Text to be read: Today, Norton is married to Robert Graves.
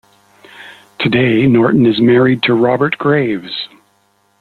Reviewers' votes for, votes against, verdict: 2, 0, accepted